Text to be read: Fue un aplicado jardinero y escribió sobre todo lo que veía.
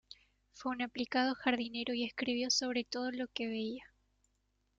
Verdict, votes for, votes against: accepted, 2, 1